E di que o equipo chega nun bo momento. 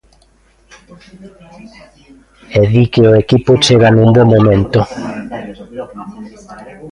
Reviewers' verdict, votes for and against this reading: rejected, 0, 2